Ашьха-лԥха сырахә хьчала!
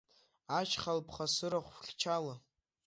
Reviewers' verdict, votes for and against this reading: accepted, 2, 1